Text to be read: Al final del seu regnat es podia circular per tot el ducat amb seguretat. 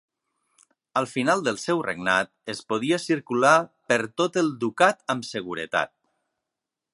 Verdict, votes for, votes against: accepted, 3, 0